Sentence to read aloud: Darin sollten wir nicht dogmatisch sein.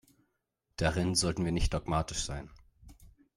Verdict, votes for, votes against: accepted, 3, 0